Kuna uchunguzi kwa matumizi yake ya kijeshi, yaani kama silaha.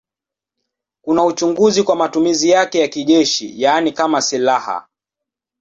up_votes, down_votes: 2, 0